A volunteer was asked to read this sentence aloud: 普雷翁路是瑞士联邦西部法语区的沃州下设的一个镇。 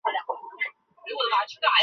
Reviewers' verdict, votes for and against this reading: rejected, 1, 3